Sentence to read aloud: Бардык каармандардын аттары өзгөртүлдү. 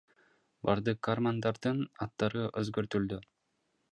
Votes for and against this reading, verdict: 2, 1, accepted